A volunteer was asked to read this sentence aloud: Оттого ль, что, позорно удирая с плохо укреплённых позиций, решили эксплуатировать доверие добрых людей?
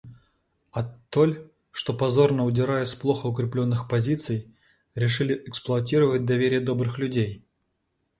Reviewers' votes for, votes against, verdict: 0, 2, rejected